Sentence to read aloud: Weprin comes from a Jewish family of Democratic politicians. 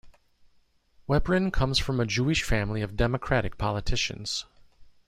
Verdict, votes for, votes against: accepted, 2, 0